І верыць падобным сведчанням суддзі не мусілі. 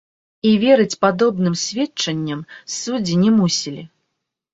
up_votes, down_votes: 0, 2